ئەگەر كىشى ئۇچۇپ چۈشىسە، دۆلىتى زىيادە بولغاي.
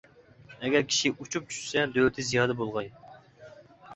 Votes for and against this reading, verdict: 2, 1, accepted